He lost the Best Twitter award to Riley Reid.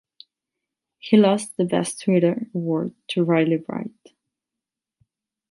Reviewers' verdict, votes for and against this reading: accepted, 8, 0